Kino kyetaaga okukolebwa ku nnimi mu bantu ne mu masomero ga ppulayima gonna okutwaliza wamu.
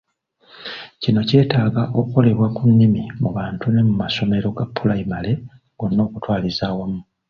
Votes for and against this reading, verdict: 2, 0, accepted